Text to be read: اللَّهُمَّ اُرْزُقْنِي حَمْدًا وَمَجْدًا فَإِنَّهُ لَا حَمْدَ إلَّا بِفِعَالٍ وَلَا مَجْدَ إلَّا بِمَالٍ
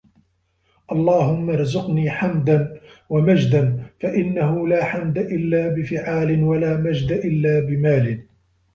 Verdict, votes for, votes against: rejected, 1, 2